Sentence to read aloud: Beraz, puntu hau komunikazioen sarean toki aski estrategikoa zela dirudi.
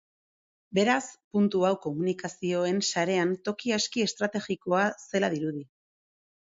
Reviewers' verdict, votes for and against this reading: accepted, 2, 1